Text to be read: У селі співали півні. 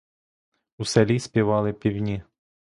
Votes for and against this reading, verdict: 0, 2, rejected